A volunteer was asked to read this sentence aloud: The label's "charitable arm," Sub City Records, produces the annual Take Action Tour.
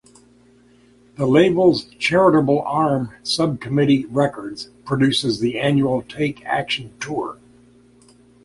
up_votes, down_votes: 0, 2